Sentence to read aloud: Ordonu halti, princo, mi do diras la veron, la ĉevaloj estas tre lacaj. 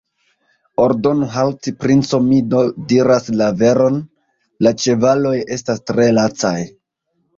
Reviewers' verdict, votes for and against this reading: rejected, 0, 2